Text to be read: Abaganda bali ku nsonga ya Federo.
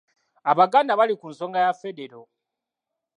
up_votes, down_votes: 2, 0